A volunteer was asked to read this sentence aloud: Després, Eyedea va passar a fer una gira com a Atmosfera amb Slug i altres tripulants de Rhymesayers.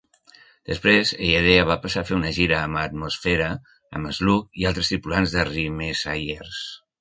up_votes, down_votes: 0, 2